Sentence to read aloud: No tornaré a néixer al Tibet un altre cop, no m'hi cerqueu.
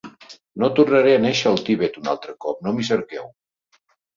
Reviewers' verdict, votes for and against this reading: rejected, 1, 2